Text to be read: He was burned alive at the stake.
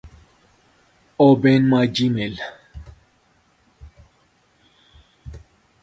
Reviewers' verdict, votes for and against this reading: rejected, 0, 4